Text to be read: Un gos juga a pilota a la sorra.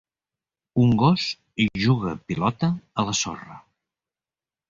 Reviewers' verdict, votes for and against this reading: rejected, 0, 2